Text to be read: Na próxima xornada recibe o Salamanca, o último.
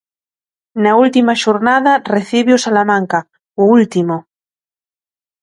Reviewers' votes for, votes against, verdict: 0, 2, rejected